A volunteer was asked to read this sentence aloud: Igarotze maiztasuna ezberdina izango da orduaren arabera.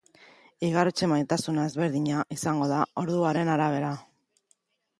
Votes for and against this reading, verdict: 0, 3, rejected